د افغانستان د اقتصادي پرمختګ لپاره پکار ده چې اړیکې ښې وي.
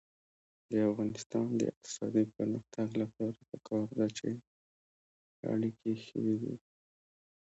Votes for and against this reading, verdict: 2, 0, accepted